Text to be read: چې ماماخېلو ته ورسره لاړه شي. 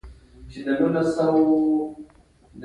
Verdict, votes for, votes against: rejected, 0, 2